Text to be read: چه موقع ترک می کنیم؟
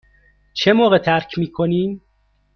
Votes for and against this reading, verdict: 2, 0, accepted